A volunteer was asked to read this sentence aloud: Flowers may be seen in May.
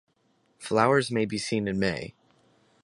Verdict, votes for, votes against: rejected, 2, 2